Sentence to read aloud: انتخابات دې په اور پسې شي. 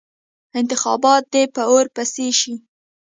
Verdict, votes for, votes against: accepted, 2, 0